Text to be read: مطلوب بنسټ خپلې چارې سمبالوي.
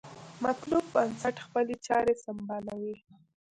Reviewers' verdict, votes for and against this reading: rejected, 0, 2